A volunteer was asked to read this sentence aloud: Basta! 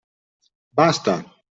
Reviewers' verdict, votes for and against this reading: accepted, 2, 0